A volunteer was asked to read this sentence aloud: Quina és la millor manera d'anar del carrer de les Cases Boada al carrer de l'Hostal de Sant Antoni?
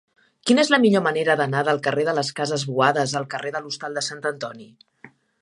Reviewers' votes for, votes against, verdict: 0, 6, rejected